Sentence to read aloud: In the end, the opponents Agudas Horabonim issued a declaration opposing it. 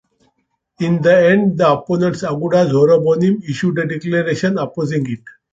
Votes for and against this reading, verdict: 1, 2, rejected